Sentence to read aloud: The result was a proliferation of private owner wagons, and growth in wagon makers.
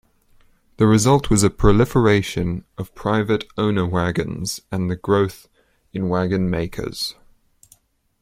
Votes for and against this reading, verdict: 2, 0, accepted